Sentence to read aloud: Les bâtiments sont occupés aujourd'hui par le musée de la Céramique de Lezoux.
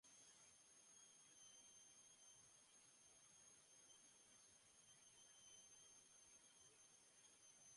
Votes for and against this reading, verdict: 0, 2, rejected